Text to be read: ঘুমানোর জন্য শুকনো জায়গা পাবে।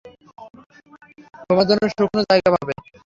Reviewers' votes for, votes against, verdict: 3, 0, accepted